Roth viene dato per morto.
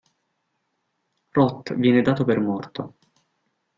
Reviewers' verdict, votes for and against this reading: accepted, 2, 0